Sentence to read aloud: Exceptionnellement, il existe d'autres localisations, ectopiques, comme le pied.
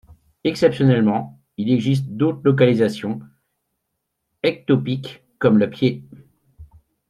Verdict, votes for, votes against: rejected, 1, 2